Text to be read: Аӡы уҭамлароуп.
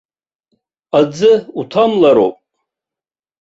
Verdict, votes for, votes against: accepted, 2, 0